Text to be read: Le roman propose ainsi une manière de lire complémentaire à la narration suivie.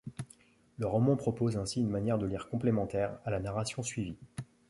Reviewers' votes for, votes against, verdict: 2, 1, accepted